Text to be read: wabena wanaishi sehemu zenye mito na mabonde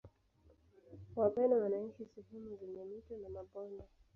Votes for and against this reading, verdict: 1, 2, rejected